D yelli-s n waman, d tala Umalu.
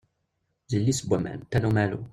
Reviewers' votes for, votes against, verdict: 0, 2, rejected